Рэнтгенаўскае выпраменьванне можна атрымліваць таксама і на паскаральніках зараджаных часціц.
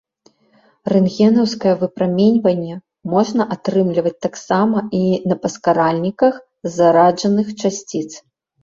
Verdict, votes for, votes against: accepted, 2, 0